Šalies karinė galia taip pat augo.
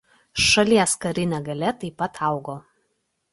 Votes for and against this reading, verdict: 2, 0, accepted